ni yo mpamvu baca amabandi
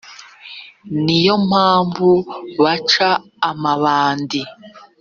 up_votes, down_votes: 3, 0